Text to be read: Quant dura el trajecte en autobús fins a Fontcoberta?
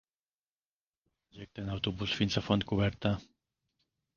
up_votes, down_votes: 0, 2